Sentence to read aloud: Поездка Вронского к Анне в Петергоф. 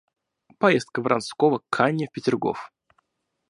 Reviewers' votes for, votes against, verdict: 2, 0, accepted